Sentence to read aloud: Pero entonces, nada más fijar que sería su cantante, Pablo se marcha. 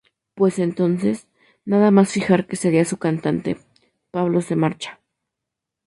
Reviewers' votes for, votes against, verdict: 0, 2, rejected